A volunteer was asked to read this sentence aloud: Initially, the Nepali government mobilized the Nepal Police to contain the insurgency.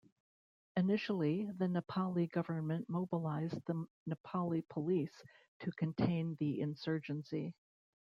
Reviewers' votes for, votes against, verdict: 0, 2, rejected